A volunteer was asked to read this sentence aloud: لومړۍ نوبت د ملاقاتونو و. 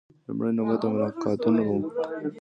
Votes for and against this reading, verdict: 0, 2, rejected